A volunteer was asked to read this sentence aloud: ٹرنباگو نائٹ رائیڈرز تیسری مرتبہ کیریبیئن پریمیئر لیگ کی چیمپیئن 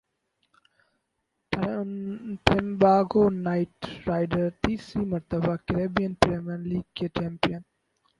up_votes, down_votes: 0, 4